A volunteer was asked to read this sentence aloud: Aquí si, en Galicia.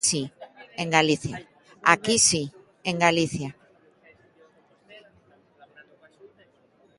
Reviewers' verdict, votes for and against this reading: rejected, 1, 2